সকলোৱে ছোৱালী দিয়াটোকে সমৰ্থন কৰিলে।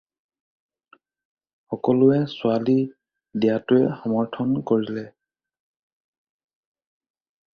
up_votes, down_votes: 2, 4